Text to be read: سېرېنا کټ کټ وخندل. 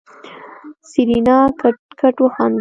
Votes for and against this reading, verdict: 2, 0, accepted